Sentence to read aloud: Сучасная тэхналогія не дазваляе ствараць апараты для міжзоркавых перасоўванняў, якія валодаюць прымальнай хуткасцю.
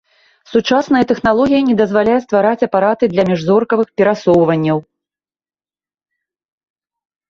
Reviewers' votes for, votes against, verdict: 0, 2, rejected